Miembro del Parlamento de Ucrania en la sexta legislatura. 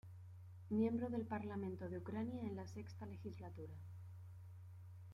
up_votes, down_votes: 2, 0